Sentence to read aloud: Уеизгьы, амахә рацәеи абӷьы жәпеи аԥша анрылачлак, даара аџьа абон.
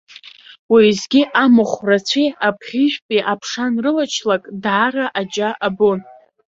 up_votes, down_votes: 2, 1